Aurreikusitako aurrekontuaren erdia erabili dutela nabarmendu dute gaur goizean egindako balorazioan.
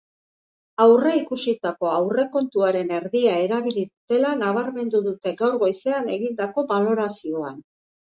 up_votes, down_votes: 3, 1